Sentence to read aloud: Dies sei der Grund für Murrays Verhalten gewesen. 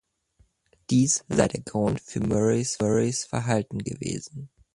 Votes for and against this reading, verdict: 0, 2, rejected